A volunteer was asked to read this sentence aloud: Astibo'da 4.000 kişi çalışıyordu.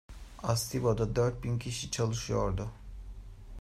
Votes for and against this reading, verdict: 0, 2, rejected